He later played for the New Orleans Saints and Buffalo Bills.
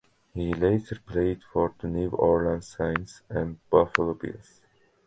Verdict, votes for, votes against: accepted, 2, 0